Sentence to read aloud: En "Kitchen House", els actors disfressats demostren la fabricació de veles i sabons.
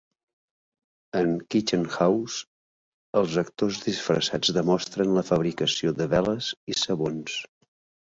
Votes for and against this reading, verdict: 3, 0, accepted